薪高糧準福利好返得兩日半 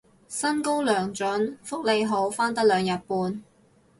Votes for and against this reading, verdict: 2, 0, accepted